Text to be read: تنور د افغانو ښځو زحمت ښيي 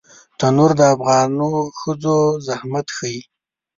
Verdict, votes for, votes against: rejected, 1, 2